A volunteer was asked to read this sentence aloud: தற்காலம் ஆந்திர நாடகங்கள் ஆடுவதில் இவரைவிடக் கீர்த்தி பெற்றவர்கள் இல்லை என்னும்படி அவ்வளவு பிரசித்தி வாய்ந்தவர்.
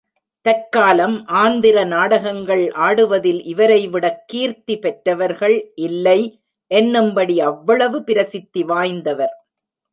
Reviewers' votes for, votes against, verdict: 2, 0, accepted